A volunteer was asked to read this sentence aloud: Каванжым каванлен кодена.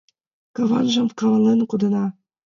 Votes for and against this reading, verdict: 2, 0, accepted